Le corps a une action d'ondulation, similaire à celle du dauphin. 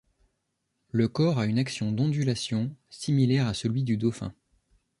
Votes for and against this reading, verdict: 1, 2, rejected